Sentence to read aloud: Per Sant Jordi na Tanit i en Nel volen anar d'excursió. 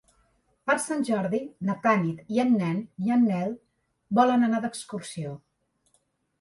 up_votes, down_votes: 2, 3